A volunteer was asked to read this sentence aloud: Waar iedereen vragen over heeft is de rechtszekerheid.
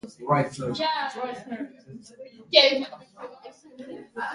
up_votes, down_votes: 0, 2